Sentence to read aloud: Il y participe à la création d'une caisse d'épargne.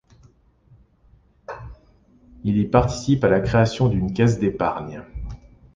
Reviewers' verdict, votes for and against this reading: accepted, 2, 0